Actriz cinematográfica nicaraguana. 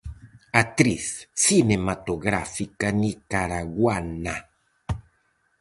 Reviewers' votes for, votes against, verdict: 4, 0, accepted